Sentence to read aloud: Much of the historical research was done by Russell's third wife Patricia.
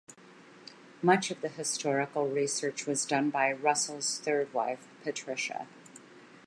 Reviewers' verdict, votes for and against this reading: accepted, 2, 0